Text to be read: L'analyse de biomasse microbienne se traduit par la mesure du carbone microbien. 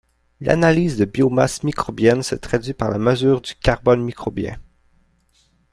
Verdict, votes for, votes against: accepted, 2, 0